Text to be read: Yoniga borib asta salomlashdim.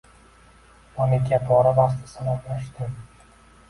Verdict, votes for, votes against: rejected, 0, 2